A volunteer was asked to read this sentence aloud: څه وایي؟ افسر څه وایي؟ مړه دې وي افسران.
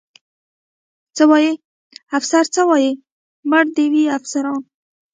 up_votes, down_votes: 2, 1